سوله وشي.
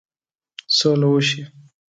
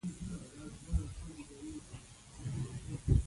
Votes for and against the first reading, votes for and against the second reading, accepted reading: 2, 0, 0, 2, first